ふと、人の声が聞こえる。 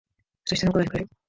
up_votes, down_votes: 0, 2